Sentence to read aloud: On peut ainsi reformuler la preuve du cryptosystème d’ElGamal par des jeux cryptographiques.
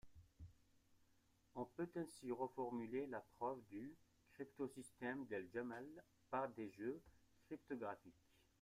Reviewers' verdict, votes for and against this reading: rejected, 1, 2